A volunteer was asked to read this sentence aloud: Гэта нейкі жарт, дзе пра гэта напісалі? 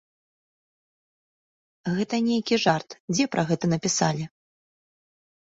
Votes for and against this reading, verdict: 2, 0, accepted